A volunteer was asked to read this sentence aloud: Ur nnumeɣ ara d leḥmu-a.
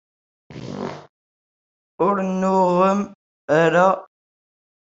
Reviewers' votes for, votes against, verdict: 0, 2, rejected